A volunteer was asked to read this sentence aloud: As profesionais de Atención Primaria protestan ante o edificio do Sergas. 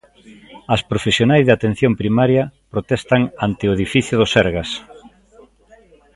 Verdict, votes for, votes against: rejected, 0, 2